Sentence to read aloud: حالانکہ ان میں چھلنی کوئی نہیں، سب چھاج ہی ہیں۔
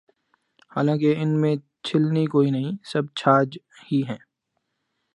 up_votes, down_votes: 2, 0